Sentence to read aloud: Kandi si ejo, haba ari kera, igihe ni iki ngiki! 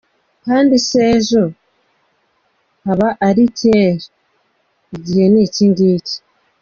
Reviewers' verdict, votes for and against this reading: accepted, 2, 0